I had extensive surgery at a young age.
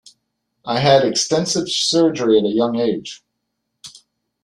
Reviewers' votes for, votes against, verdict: 2, 0, accepted